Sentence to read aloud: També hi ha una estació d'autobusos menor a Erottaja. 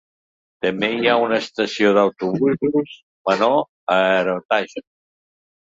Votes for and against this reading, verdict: 1, 2, rejected